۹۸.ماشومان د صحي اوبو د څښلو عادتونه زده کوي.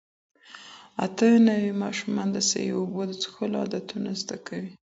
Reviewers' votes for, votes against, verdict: 0, 2, rejected